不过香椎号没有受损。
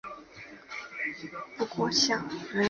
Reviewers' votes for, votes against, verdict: 0, 2, rejected